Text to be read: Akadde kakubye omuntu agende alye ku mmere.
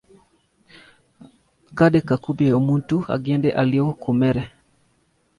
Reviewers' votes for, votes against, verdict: 0, 2, rejected